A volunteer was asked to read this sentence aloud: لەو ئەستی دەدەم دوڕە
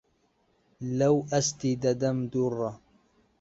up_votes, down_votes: 2, 0